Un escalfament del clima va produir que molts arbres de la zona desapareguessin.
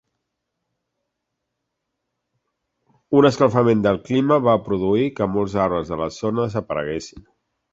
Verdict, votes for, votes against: accepted, 2, 1